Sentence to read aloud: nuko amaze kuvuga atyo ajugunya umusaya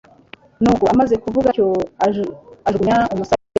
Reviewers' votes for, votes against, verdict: 1, 2, rejected